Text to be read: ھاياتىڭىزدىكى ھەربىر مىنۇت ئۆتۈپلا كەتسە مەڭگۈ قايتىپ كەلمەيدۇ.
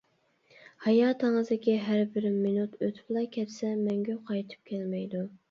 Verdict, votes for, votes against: accepted, 2, 0